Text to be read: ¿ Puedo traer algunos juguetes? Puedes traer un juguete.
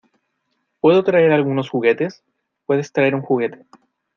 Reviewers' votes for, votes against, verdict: 2, 0, accepted